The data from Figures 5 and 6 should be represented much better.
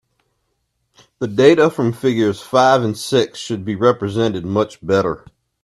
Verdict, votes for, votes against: rejected, 0, 2